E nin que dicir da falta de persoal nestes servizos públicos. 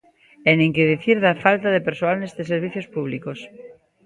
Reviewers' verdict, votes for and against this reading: rejected, 1, 2